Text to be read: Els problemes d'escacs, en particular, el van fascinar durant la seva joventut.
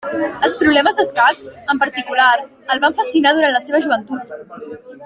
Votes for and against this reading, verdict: 0, 2, rejected